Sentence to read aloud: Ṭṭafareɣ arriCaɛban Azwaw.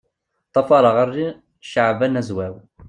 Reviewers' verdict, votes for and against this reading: rejected, 1, 2